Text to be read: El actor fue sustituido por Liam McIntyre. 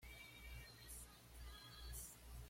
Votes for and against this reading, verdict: 1, 2, rejected